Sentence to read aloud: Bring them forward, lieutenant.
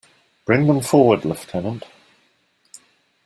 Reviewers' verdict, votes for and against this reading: rejected, 0, 2